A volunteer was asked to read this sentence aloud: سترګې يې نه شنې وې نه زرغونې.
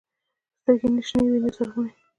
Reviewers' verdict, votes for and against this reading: accepted, 2, 0